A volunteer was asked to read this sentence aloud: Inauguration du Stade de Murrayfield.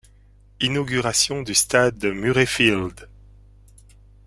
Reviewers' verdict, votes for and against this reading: accepted, 2, 0